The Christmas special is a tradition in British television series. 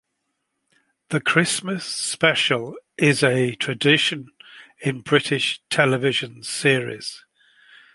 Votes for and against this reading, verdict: 2, 0, accepted